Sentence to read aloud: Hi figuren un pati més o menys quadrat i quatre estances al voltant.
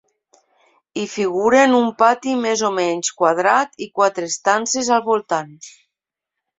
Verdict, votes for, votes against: accepted, 3, 0